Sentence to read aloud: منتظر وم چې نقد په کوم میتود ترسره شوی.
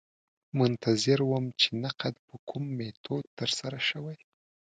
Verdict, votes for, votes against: accepted, 2, 0